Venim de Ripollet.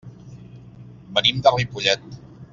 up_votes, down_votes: 1, 2